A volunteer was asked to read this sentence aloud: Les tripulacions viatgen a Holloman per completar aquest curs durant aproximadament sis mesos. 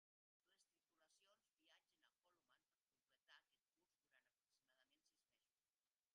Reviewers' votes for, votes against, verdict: 0, 2, rejected